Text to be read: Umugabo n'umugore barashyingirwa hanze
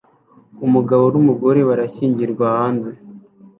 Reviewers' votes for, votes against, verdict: 2, 0, accepted